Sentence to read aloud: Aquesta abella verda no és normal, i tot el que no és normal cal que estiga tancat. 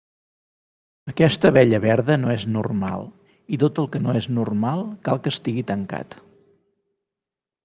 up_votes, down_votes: 1, 2